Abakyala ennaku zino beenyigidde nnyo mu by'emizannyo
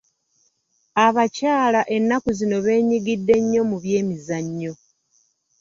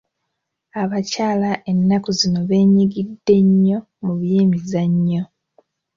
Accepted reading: second